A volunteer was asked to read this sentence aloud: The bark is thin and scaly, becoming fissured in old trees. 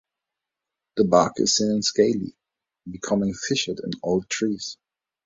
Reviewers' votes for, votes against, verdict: 3, 0, accepted